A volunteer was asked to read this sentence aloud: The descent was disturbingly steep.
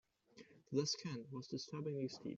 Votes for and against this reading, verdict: 1, 2, rejected